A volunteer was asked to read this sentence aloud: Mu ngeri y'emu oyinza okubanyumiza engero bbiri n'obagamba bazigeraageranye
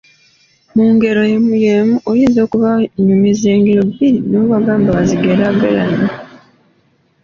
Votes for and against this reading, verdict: 0, 2, rejected